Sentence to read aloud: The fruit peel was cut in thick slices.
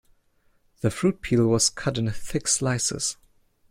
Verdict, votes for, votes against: accepted, 2, 0